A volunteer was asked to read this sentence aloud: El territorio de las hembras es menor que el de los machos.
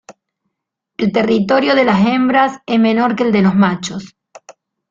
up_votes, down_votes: 2, 0